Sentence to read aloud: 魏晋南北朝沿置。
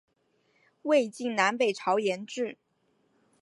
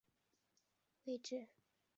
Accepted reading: first